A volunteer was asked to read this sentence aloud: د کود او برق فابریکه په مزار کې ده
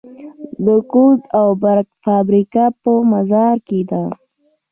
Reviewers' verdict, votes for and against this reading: rejected, 1, 2